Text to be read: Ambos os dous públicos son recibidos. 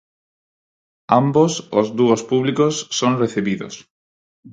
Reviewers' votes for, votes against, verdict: 0, 4, rejected